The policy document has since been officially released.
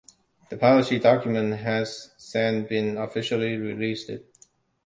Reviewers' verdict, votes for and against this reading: rejected, 1, 2